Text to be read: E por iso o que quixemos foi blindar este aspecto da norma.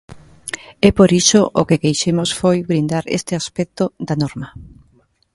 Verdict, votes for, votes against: rejected, 0, 2